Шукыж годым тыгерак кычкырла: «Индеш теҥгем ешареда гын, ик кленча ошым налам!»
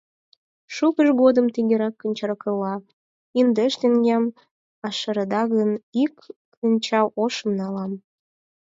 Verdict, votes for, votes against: rejected, 0, 4